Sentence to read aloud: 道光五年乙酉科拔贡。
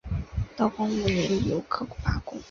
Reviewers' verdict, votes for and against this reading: accepted, 2, 0